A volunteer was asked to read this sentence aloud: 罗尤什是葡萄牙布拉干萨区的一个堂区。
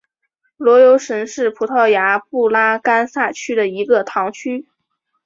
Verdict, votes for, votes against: accepted, 2, 0